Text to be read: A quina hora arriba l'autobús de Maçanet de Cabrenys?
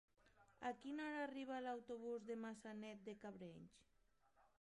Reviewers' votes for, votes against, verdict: 0, 2, rejected